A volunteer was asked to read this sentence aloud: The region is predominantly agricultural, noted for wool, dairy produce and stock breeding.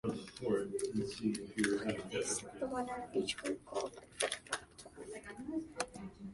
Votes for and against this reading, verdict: 0, 2, rejected